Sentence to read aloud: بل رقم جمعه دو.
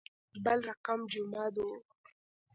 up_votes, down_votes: 2, 0